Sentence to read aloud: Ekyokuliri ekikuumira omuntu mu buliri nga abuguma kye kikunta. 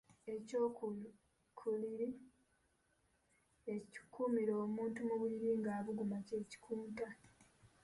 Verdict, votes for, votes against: rejected, 1, 2